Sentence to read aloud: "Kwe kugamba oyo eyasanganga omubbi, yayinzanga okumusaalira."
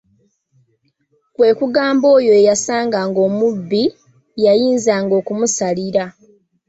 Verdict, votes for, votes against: accepted, 2, 0